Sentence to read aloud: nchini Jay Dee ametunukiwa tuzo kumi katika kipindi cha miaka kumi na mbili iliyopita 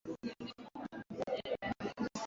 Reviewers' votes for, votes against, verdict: 1, 2, rejected